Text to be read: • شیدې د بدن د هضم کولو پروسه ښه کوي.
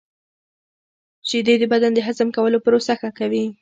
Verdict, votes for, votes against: accepted, 2, 1